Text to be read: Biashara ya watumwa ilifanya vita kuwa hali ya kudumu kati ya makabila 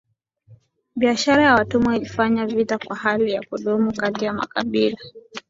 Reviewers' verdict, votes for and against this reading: accepted, 2, 0